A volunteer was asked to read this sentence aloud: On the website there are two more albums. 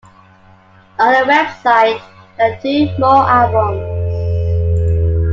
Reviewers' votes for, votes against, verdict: 0, 2, rejected